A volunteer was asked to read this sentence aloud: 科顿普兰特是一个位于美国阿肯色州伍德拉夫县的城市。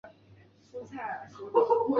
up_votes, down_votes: 0, 4